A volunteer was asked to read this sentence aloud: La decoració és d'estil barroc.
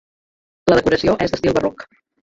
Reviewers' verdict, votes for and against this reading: rejected, 1, 2